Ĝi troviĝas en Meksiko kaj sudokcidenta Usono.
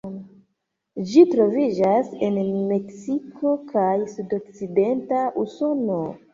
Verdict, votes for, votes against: accepted, 2, 0